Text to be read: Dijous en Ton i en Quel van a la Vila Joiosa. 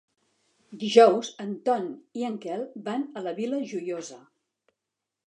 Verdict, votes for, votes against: accepted, 2, 0